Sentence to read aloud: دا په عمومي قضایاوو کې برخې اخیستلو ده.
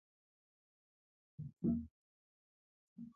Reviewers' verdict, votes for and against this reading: rejected, 0, 2